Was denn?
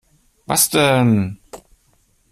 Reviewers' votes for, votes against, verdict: 2, 0, accepted